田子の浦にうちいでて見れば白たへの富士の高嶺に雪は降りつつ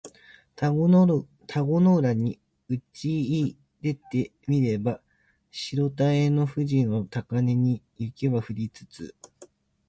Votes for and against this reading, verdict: 0, 2, rejected